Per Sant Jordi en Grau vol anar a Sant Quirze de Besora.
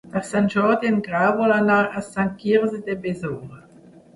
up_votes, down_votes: 2, 0